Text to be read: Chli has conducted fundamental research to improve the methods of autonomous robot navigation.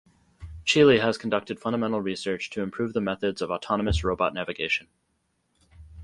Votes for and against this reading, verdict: 0, 2, rejected